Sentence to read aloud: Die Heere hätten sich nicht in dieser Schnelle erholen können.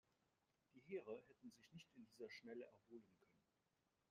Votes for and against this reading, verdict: 0, 2, rejected